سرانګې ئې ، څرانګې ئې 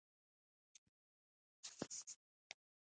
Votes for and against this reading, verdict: 0, 2, rejected